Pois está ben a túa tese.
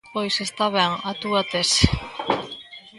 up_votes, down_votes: 2, 0